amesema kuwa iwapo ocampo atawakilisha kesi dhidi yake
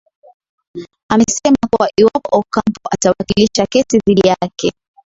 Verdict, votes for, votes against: rejected, 0, 2